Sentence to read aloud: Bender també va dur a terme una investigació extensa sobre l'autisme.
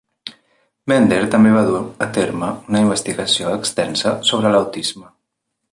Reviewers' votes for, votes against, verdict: 2, 0, accepted